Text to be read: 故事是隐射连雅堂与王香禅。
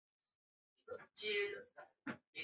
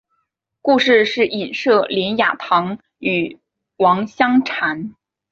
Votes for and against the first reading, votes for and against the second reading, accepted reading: 0, 4, 3, 0, second